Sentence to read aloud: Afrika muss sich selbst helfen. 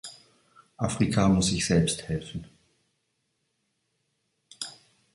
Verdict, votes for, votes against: accepted, 2, 0